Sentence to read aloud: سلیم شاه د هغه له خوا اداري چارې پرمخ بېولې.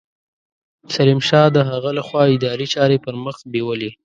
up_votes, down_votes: 2, 0